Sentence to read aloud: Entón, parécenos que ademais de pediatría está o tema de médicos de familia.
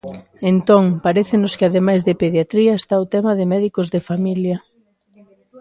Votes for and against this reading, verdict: 2, 0, accepted